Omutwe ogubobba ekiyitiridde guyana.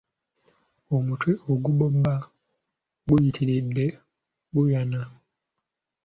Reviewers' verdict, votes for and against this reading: rejected, 0, 2